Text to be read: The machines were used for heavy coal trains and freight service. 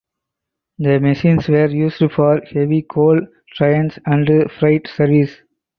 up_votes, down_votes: 4, 0